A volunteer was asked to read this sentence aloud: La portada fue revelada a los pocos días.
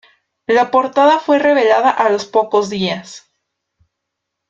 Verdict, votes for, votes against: accepted, 2, 0